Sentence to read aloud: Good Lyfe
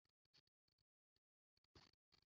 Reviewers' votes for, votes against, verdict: 0, 2, rejected